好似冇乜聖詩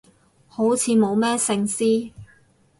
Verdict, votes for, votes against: rejected, 2, 4